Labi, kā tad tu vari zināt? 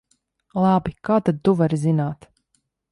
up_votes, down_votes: 2, 0